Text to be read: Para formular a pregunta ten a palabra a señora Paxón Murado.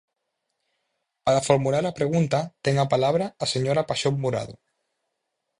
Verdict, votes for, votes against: rejected, 0, 4